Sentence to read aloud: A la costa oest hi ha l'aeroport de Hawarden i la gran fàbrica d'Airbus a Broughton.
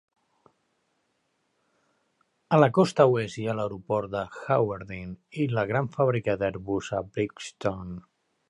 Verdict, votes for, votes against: accepted, 2, 0